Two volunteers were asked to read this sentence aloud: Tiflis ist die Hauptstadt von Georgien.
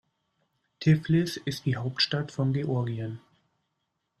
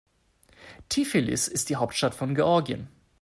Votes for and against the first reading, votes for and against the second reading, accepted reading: 2, 0, 0, 2, first